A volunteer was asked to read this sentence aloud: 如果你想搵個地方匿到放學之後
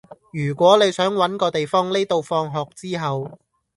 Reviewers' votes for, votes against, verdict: 2, 0, accepted